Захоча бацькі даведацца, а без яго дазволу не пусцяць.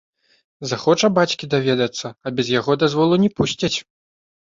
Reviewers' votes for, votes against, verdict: 2, 0, accepted